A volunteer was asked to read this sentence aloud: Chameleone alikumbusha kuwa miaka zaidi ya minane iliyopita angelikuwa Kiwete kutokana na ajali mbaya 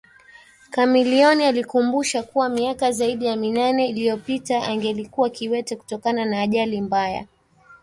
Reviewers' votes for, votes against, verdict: 1, 2, rejected